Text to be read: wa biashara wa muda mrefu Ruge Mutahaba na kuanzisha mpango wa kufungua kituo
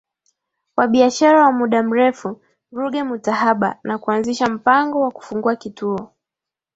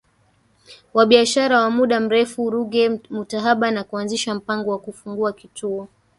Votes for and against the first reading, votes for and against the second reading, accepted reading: 41, 4, 1, 3, first